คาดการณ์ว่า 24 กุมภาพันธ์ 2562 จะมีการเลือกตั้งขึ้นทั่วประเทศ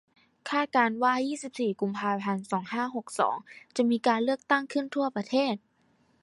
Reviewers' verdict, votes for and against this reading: rejected, 0, 2